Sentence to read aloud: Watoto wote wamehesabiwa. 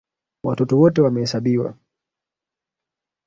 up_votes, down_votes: 2, 0